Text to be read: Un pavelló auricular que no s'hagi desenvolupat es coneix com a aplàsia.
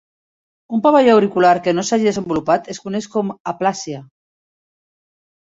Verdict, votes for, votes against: accepted, 2, 0